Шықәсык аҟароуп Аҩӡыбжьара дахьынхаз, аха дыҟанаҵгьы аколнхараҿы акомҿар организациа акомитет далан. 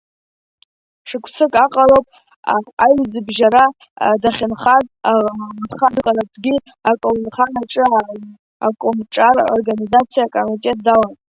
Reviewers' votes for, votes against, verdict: 1, 2, rejected